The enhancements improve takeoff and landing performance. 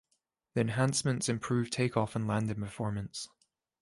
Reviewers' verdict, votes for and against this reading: accepted, 2, 1